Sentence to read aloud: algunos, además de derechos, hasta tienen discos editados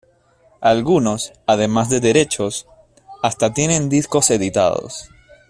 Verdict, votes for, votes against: accepted, 2, 0